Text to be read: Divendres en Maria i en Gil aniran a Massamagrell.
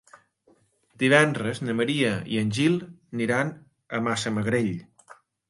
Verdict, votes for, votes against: rejected, 0, 2